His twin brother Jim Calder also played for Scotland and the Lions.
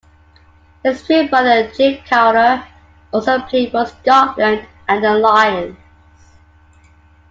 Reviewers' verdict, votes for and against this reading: rejected, 1, 2